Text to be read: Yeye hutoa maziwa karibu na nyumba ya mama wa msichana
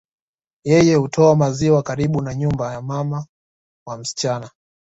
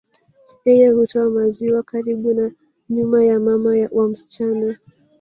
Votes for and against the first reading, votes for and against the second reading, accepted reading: 2, 0, 1, 2, first